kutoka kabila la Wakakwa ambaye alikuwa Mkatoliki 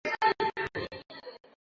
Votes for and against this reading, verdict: 0, 2, rejected